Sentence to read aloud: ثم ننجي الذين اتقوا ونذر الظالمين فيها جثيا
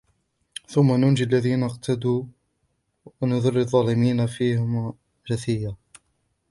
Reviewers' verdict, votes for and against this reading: rejected, 1, 2